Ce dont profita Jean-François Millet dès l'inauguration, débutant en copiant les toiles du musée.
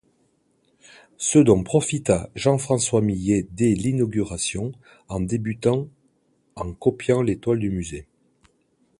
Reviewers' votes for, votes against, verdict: 0, 2, rejected